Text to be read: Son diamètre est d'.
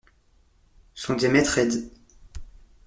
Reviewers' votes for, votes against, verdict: 2, 0, accepted